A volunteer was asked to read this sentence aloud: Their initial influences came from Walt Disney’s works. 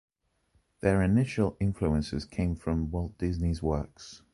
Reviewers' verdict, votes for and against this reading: accepted, 2, 0